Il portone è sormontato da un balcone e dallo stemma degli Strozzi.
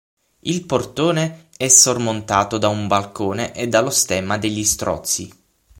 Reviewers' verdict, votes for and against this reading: rejected, 0, 6